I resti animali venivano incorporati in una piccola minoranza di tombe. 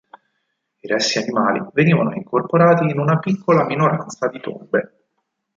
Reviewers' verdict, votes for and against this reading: accepted, 4, 0